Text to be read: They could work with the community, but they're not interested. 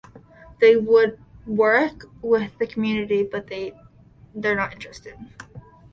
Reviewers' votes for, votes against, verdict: 1, 2, rejected